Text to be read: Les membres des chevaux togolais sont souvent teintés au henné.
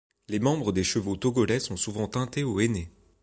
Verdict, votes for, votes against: accepted, 3, 0